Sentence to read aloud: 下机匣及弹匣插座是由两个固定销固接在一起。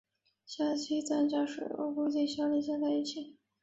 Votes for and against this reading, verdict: 0, 5, rejected